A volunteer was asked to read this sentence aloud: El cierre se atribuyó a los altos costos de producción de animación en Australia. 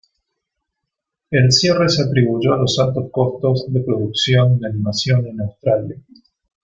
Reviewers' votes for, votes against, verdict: 1, 2, rejected